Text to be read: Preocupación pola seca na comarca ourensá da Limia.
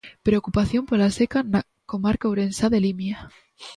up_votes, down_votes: 1, 2